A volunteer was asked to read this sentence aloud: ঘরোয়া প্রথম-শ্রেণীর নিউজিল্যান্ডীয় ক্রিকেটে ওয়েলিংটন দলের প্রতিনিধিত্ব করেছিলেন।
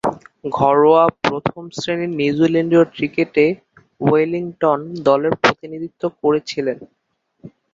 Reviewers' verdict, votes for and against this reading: rejected, 3, 3